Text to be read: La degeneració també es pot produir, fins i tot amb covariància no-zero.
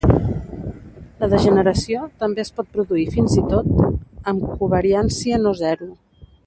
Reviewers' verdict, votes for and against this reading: rejected, 1, 2